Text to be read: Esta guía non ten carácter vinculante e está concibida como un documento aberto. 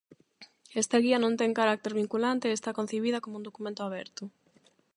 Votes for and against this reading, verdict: 8, 0, accepted